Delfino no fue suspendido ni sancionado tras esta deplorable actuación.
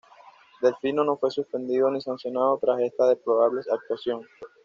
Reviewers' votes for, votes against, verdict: 2, 0, accepted